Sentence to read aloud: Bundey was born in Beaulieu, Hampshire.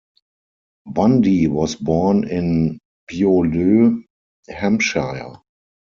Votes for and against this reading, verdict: 4, 2, accepted